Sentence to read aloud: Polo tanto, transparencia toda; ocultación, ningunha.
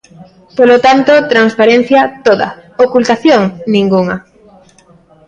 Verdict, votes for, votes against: accepted, 2, 0